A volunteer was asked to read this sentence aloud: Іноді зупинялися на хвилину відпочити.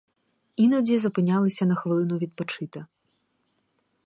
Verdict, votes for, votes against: accepted, 4, 0